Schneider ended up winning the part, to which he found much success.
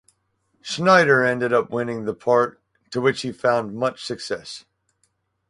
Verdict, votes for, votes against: accepted, 4, 0